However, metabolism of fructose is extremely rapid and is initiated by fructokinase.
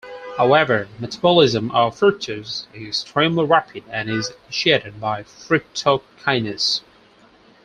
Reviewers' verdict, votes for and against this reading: rejected, 0, 4